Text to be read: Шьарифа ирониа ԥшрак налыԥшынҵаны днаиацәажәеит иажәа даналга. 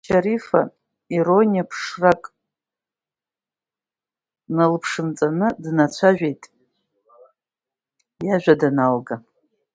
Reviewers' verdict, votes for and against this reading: rejected, 0, 2